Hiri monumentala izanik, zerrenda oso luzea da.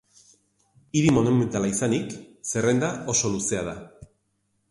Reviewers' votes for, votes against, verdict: 2, 0, accepted